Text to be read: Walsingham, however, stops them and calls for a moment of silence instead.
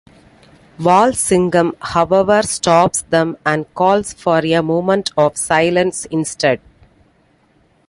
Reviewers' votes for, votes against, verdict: 2, 0, accepted